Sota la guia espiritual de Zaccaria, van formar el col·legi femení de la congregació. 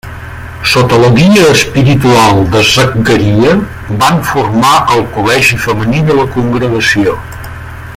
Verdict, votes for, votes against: rejected, 1, 2